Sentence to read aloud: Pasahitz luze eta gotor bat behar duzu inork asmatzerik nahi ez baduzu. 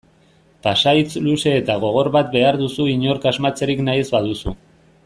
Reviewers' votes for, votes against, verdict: 0, 2, rejected